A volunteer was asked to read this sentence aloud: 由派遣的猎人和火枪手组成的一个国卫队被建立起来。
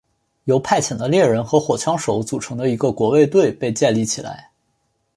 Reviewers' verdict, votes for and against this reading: accepted, 2, 0